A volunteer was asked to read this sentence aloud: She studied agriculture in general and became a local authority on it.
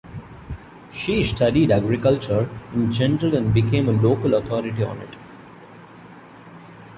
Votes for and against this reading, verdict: 2, 0, accepted